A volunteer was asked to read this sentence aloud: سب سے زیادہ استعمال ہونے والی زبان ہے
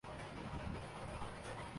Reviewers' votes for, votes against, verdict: 0, 2, rejected